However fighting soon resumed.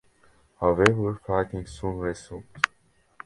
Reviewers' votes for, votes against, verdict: 2, 0, accepted